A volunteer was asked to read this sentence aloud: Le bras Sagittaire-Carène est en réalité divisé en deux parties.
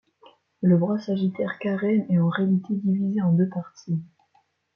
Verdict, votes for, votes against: accepted, 2, 0